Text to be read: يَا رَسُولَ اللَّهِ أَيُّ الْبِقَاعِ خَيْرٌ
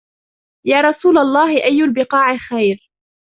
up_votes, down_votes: 0, 2